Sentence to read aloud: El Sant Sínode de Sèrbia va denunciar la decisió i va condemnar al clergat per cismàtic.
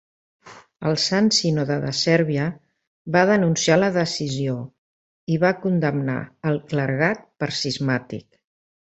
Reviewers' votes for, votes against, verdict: 2, 0, accepted